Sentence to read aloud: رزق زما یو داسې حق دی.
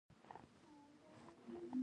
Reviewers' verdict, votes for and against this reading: rejected, 0, 2